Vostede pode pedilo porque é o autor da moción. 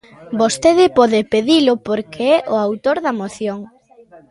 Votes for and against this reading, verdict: 2, 0, accepted